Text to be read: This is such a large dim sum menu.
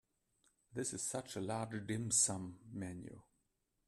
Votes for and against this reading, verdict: 1, 2, rejected